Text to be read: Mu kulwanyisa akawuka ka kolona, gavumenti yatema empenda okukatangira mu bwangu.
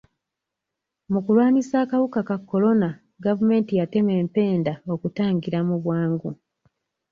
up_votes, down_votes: 1, 2